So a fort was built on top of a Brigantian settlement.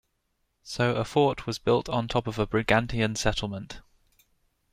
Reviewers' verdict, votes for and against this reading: accepted, 2, 0